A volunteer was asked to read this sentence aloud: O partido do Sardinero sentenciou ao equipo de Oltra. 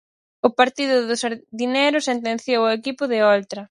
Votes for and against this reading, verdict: 4, 0, accepted